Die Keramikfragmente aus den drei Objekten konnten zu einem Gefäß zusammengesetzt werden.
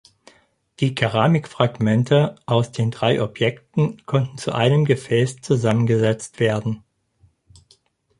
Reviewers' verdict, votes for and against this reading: accepted, 4, 0